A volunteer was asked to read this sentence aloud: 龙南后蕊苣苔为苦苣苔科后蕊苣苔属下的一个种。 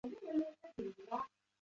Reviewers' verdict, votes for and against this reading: rejected, 1, 2